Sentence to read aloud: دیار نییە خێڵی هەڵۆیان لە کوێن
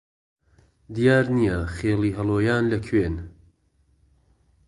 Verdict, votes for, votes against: accepted, 2, 0